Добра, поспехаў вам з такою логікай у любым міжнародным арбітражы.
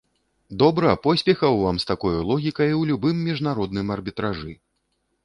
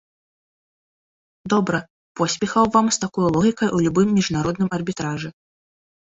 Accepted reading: second